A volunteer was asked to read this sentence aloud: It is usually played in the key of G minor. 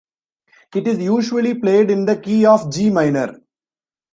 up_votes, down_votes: 2, 0